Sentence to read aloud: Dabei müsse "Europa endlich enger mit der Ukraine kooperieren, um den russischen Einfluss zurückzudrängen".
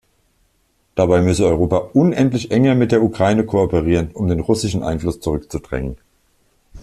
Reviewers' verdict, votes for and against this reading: rejected, 0, 2